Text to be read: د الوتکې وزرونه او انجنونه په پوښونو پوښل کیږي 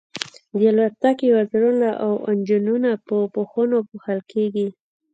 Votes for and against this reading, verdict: 2, 0, accepted